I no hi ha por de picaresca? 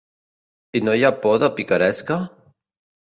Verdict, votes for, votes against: accepted, 2, 0